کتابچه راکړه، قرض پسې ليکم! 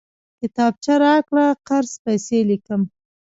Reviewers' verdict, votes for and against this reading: rejected, 1, 2